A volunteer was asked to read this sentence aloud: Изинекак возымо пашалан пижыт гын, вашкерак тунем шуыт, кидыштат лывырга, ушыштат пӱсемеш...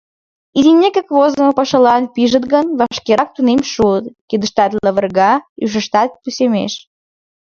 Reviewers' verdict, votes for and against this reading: accepted, 2, 0